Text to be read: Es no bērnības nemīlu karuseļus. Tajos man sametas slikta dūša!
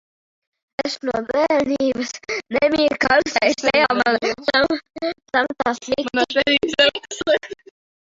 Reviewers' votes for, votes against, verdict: 0, 2, rejected